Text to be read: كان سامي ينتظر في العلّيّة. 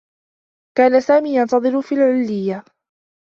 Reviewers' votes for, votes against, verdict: 2, 0, accepted